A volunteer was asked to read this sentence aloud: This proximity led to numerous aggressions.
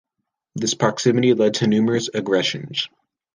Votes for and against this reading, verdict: 2, 1, accepted